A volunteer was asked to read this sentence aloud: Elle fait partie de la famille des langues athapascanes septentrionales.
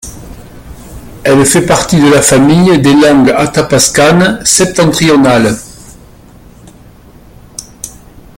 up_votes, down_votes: 3, 0